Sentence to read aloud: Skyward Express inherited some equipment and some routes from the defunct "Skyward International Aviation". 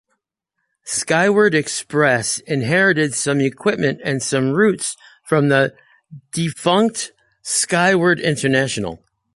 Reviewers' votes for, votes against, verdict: 2, 1, accepted